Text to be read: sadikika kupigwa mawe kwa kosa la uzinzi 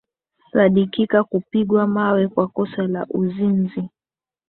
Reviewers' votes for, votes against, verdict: 2, 0, accepted